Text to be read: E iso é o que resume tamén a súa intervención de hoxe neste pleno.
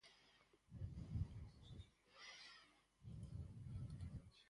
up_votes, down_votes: 0, 4